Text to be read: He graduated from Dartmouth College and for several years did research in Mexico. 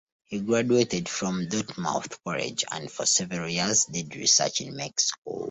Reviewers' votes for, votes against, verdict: 2, 0, accepted